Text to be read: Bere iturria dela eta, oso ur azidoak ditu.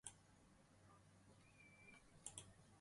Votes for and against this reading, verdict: 0, 4, rejected